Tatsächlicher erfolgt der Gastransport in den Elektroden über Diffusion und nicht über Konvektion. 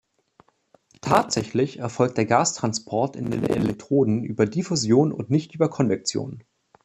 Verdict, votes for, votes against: rejected, 0, 2